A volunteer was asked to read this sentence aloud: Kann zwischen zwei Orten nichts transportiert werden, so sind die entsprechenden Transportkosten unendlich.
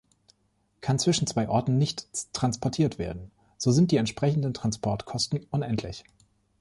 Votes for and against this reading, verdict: 1, 2, rejected